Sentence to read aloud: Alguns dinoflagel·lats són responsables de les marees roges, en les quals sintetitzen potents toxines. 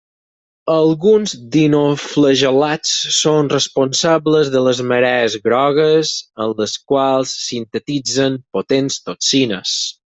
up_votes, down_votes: 0, 4